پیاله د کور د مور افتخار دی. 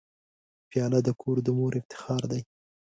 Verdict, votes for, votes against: accepted, 2, 0